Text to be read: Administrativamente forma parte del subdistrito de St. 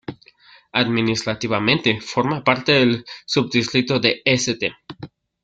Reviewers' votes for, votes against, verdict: 2, 1, accepted